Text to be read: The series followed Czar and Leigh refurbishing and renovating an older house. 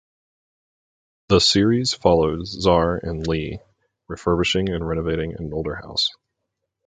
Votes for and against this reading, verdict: 4, 0, accepted